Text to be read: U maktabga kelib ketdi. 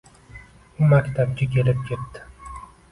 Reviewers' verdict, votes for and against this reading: accepted, 2, 0